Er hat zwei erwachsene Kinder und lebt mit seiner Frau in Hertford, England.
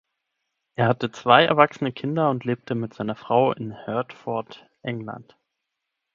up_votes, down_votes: 0, 6